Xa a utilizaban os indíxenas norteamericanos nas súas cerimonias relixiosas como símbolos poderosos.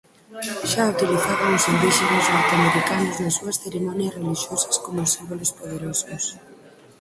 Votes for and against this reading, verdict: 2, 4, rejected